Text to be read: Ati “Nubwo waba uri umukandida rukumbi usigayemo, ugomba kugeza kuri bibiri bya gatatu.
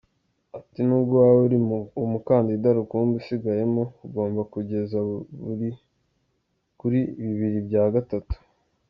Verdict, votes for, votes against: rejected, 1, 2